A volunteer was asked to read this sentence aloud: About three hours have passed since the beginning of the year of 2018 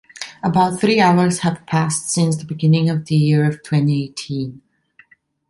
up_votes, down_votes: 0, 2